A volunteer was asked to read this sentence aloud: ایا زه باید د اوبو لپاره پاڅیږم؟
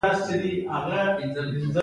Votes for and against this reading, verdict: 1, 2, rejected